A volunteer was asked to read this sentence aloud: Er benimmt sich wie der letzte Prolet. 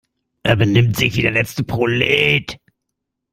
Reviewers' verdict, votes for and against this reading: accepted, 2, 0